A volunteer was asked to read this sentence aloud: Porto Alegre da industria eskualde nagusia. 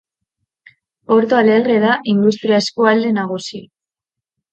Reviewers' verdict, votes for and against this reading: accepted, 2, 0